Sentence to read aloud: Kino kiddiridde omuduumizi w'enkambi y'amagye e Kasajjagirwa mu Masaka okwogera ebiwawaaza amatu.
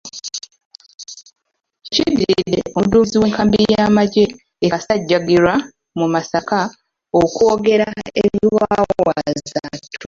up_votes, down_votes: 0, 2